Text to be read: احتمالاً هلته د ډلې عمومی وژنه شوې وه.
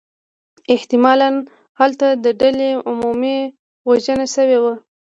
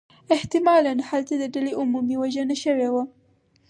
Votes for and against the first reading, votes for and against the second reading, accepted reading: 1, 2, 4, 0, second